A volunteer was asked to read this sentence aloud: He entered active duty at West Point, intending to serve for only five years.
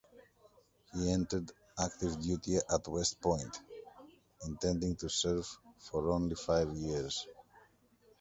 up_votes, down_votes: 2, 0